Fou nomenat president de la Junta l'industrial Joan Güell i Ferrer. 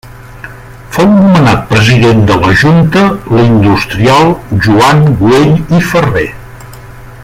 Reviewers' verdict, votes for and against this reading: accepted, 2, 1